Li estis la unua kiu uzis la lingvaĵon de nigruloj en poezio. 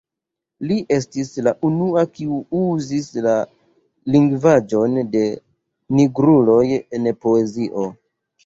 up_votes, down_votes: 0, 2